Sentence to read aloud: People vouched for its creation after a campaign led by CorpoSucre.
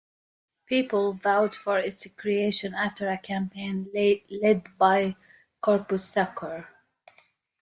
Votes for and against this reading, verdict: 0, 2, rejected